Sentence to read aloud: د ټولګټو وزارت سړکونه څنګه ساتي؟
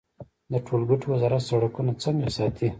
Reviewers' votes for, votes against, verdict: 1, 2, rejected